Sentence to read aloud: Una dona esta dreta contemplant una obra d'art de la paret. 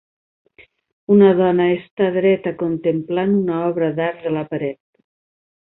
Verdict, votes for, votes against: accepted, 3, 0